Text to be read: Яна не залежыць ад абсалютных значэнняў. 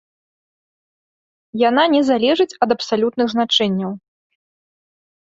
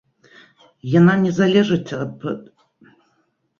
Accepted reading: first